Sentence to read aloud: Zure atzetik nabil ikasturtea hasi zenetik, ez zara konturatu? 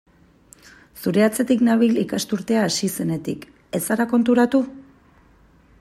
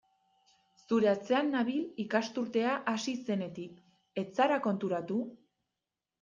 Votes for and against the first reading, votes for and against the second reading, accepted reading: 2, 0, 0, 2, first